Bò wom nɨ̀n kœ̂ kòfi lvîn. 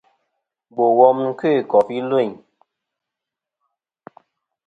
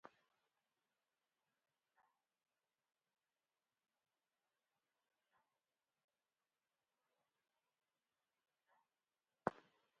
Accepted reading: first